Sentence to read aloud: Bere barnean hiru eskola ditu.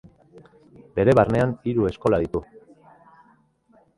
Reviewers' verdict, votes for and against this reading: accepted, 3, 0